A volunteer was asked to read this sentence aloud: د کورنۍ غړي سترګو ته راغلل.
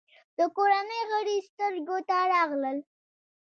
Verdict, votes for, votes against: rejected, 0, 2